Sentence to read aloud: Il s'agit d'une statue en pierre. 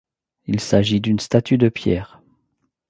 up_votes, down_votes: 1, 2